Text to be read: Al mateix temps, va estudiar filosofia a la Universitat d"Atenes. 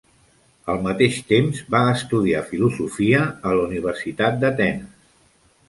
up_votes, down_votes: 2, 0